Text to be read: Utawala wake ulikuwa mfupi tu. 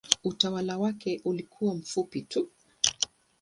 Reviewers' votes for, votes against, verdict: 2, 0, accepted